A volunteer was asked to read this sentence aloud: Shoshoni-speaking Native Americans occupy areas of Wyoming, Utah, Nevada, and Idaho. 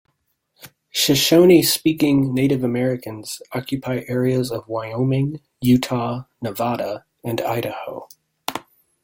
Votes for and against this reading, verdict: 2, 1, accepted